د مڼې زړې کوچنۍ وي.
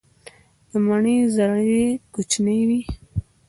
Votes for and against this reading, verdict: 0, 2, rejected